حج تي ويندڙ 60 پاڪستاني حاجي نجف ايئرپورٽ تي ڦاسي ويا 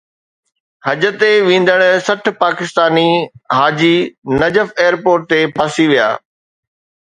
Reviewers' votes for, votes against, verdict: 0, 2, rejected